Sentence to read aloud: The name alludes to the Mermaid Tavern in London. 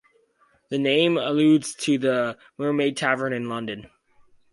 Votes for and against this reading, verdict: 4, 0, accepted